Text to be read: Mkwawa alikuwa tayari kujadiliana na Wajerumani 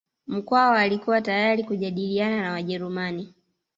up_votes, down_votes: 0, 2